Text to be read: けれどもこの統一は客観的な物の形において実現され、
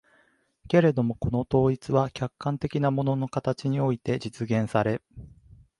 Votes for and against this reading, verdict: 3, 0, accepted